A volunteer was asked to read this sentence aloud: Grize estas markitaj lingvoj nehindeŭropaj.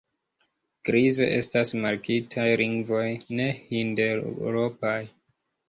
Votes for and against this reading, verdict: 0, 2, rejected